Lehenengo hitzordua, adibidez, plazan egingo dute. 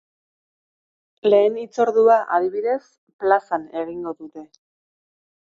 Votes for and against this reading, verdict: 0, 2, rejected